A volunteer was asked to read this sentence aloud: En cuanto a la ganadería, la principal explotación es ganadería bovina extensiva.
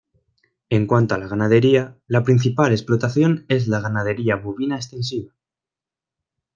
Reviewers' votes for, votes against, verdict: 1, 2, rejected